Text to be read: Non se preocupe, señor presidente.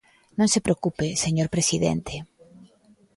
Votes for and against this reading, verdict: 2, 0, accepted